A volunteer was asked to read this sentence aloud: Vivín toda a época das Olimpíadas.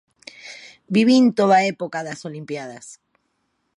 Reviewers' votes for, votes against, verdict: 0, 2, rejected